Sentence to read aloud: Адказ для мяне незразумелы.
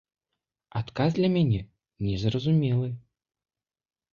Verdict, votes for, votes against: accepted, 2, 0